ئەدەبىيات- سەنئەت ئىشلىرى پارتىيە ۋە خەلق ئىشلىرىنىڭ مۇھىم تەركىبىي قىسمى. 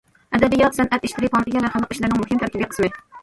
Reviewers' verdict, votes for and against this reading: rejected, 1, 2